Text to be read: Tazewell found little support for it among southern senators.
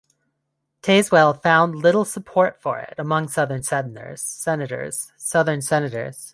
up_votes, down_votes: 0, 2